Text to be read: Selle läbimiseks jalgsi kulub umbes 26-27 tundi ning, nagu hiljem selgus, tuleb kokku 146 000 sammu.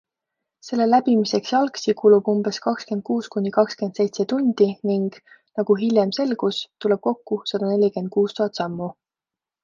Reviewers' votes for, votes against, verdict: 0, 2, rejected